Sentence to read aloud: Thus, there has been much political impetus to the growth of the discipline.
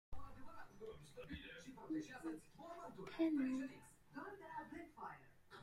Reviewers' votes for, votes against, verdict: 0, 2, rejected